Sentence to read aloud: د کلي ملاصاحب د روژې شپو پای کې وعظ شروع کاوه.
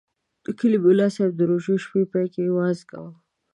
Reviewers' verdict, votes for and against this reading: accepted, 2, 0